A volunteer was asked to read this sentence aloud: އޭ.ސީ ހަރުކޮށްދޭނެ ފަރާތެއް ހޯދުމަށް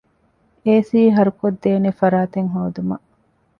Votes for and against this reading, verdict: 2, 0, accepted